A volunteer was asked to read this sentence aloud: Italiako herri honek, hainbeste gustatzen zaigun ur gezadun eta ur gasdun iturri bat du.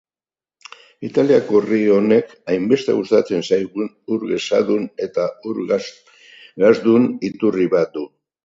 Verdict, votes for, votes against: rejected, 0, 2